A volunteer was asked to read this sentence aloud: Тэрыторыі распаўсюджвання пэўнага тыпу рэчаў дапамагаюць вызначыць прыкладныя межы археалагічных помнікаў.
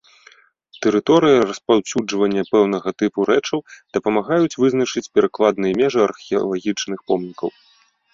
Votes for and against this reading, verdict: 0, 2, rejected